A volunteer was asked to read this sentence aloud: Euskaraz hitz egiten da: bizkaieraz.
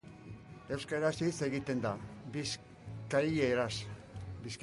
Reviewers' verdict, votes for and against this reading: rejected, 1, 2